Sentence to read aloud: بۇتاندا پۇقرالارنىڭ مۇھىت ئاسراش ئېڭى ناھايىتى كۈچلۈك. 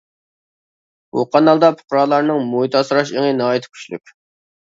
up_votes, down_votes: 0, 2